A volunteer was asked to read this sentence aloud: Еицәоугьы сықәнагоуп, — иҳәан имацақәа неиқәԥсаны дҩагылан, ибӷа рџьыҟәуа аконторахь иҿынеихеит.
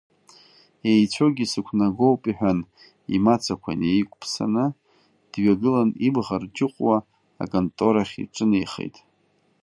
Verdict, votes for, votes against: accepted, 2, 1